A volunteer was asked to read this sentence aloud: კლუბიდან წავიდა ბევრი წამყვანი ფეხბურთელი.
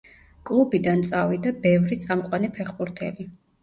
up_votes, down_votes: 2, 0